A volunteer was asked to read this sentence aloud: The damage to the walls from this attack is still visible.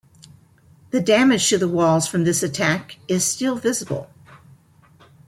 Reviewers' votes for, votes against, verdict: 2, 0, accepted